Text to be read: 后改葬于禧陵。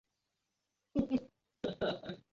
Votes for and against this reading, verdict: 0, 2, rejected